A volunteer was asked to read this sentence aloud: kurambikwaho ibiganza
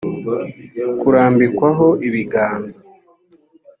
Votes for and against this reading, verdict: 2, 0, accepted